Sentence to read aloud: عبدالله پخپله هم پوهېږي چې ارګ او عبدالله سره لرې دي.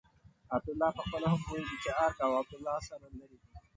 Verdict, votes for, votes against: rejected, 1, 2